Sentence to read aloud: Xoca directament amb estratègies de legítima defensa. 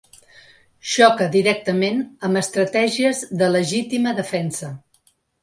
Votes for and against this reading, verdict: 4, 0, accepted